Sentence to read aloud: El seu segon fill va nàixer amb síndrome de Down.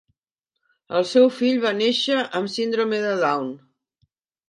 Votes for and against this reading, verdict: 0, 3, rejected